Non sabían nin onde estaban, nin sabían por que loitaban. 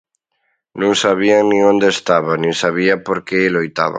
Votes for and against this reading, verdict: 1, 2, rejected